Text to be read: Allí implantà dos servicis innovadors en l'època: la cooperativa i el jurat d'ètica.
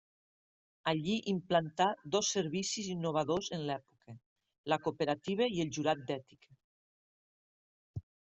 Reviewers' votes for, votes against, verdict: 2, 0, accepted